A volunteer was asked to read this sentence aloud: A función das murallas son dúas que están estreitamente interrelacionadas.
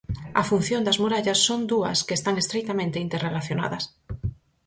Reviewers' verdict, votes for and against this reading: accepted, 4, 0